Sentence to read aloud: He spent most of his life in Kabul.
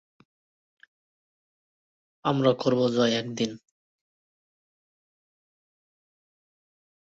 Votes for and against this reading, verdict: 0, 2, rejected